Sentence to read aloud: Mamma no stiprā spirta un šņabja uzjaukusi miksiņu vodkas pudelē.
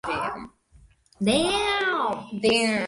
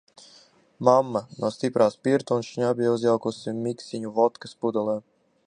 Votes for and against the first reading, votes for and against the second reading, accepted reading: 0, 2, 2, 0, second